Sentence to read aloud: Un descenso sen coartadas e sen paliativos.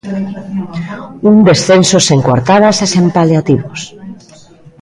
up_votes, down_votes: 2, 0